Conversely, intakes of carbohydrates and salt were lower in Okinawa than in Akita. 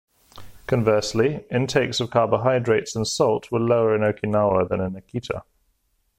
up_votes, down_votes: 2, 0